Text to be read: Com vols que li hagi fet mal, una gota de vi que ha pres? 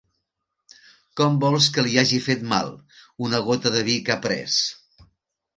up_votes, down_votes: 3, 0